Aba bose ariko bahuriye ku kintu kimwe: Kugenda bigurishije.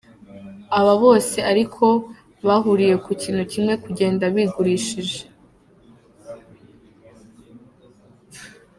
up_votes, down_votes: 1, 2